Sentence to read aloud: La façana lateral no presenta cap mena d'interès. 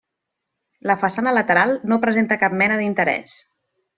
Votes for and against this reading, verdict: 3, 0, accepted